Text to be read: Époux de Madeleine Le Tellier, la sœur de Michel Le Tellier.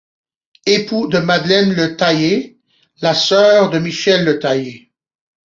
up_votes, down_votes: 1, 2